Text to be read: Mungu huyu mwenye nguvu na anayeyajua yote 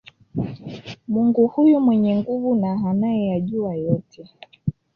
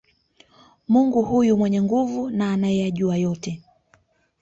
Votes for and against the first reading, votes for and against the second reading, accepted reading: 0, 2, 2, 0, second